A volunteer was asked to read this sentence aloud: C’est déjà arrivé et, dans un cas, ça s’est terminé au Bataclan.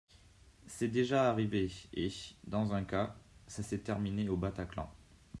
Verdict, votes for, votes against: accepted, 2, 1